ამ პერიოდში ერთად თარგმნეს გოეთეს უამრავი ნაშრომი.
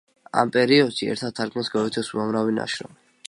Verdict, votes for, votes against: accepted, 2, 0